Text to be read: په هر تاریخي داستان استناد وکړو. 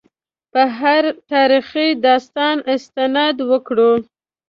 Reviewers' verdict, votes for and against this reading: accepted, 2, 0